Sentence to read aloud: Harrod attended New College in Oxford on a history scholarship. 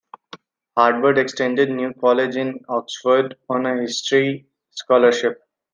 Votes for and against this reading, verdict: 2, 1, accepted